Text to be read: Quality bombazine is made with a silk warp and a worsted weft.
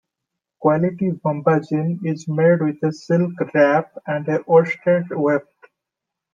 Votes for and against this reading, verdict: 0, 2, rejected